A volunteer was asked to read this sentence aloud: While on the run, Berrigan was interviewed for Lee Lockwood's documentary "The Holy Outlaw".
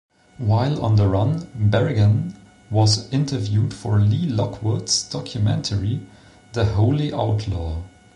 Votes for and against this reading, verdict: 2, 0, accepted